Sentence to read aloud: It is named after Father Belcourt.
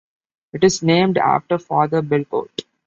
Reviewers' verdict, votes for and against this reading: accepted, 4, 0